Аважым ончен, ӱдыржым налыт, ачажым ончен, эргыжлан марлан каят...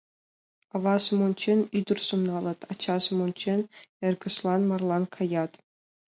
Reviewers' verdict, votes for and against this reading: accepted, 2, 0